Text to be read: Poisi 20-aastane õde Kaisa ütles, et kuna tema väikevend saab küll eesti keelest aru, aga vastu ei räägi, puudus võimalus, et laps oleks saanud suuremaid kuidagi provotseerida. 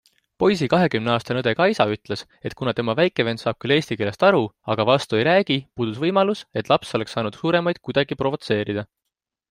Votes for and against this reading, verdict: 0, 2, rejected